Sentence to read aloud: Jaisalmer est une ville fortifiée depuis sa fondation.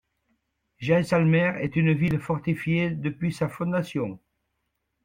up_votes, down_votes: 2, 1